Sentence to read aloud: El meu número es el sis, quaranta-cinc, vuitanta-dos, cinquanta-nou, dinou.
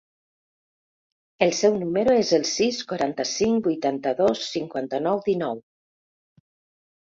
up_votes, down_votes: 1, 2